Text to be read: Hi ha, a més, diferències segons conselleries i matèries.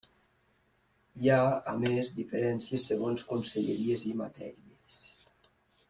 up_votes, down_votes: 1, 2